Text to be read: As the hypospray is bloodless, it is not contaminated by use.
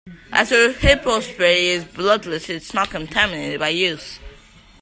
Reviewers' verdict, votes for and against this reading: rejected, 1, 2